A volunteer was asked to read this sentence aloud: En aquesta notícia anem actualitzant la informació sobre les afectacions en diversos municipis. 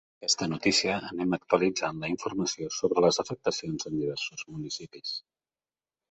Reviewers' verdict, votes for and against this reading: rejected, 0, 2